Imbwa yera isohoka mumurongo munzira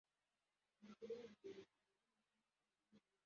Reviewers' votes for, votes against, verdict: 0, 2, rejected